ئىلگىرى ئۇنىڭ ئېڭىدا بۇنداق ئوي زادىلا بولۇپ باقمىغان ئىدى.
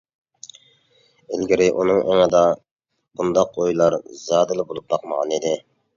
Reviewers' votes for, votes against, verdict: 0, 2, rejected